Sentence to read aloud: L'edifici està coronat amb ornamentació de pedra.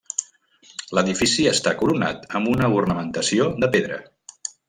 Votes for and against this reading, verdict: 1, 2, rejected